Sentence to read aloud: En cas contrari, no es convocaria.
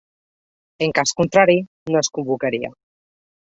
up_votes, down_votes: 3, 0